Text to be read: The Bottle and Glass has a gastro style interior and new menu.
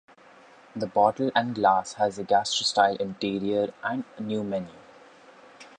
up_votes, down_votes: 0, 2